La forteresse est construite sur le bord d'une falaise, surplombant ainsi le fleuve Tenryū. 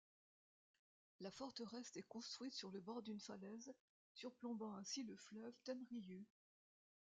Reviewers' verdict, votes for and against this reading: rejected, 1, 2